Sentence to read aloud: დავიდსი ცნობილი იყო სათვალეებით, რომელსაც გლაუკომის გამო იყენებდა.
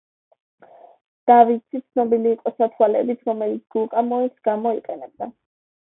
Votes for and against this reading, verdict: 0, 2, rejected